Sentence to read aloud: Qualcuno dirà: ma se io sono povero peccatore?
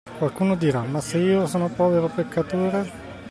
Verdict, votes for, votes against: accepted, 2, 0